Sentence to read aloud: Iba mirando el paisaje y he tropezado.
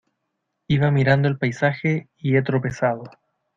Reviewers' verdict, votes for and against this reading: accepted, 2, 0